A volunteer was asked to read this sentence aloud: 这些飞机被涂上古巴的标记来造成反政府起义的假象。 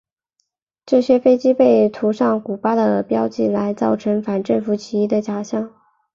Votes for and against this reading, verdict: 2, 0, accepted